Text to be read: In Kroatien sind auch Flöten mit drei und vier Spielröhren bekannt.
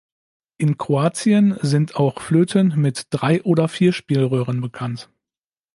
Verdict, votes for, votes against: rejected, 1, 2